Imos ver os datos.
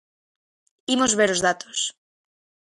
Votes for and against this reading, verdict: 2, 0, accepted